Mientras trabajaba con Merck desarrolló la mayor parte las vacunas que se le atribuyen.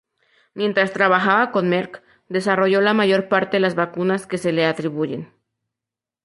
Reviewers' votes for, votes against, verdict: 2, 0, accepted